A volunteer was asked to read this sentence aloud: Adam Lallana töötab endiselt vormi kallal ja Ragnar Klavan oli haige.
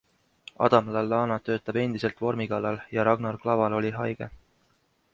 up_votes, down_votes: 2, 0